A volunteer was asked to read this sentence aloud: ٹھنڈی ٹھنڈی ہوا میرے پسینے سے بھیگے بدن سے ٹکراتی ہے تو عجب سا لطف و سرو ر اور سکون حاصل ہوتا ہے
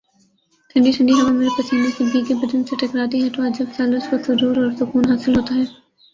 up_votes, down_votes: 1, 3